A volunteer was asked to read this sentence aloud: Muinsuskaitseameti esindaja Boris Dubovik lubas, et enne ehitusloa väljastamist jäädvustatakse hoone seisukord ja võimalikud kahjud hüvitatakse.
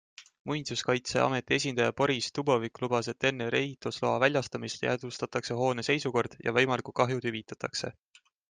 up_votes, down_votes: 2, 1